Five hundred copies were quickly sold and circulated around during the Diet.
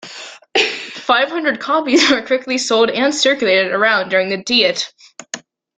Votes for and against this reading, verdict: 2, 1, accepted